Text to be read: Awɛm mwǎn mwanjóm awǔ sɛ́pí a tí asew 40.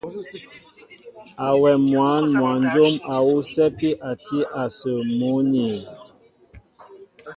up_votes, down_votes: 0, 2